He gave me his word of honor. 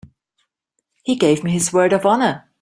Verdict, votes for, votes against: accepted, 2, 0